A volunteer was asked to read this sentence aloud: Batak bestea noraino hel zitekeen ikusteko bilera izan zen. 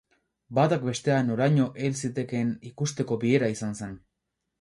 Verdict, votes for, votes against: rejected, 2, 2